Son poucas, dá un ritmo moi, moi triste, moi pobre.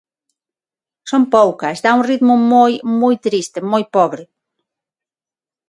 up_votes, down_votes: 6, 0